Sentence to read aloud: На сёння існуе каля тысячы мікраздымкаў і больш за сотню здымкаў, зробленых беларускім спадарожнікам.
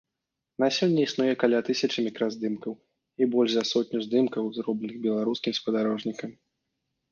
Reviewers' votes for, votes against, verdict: 0, 2, rejected